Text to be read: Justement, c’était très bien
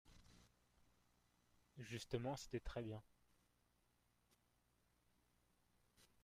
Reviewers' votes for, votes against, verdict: 0, 2, rejected